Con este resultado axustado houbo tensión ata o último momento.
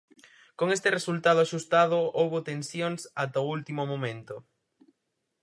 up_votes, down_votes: 0, 4